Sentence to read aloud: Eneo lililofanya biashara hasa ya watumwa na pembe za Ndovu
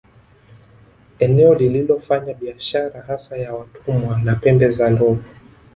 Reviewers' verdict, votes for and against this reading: rejected, 0, 2